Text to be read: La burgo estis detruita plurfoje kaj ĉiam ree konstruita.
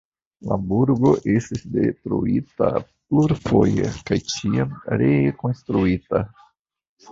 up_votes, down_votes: 2, 0